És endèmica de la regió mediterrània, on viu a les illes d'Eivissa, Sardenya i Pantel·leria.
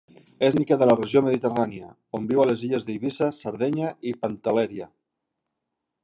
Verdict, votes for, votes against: rejected, 0, 2